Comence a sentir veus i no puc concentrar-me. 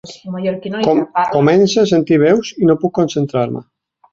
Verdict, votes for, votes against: rejected, 1, 4